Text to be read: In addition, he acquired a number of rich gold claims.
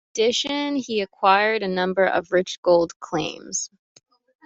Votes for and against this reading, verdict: 1, 2, rejected